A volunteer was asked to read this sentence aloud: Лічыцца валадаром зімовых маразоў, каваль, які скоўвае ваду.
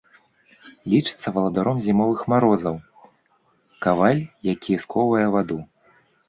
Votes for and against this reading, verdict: 1, 2, rejected